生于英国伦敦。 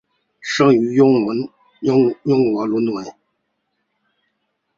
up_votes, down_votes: 2, 1